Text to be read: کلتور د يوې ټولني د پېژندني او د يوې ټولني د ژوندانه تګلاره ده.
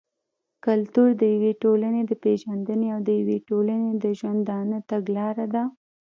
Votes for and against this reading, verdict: 1, 2, rejected